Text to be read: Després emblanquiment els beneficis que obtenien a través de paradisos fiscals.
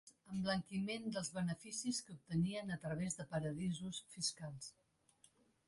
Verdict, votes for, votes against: rejected, 0, 2